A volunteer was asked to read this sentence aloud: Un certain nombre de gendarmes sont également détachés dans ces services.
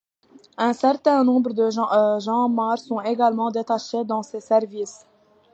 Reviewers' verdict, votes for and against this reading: rejected, 0, 2